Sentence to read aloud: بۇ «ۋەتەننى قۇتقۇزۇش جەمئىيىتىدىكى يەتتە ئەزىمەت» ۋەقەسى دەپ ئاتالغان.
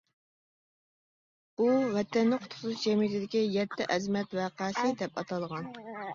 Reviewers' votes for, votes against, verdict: 1, 2, rejected